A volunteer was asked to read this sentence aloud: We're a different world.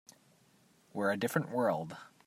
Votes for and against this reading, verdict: 2, 0, accepted